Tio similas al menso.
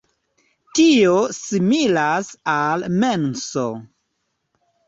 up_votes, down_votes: 2, 0